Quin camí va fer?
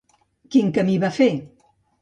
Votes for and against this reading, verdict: 2, 0, accepted